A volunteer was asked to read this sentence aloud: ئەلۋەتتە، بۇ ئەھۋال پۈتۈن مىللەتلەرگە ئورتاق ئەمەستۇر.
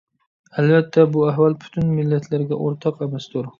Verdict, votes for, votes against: accepted, 2, 0